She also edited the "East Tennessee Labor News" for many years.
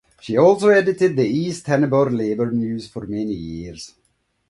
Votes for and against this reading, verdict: 1, 2, rejected